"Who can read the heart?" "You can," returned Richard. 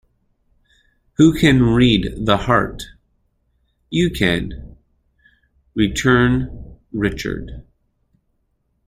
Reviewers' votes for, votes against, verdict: 2, 0, accepted